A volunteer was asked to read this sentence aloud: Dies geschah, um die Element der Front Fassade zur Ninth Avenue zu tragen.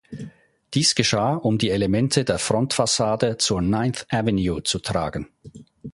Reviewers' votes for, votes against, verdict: 1, 2, rejected